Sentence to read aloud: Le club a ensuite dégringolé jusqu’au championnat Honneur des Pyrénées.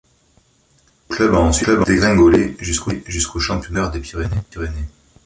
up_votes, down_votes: 0, 3